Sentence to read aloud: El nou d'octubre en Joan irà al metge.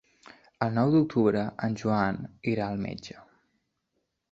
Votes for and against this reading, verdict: 3, 0, accepted